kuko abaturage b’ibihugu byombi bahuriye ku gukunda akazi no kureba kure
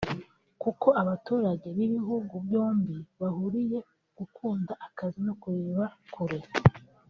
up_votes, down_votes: 2, 1